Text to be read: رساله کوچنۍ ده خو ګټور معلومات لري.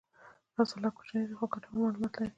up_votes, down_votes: 2, 1